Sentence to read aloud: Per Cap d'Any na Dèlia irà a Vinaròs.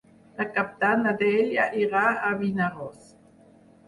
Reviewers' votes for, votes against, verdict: 0, 4, rejected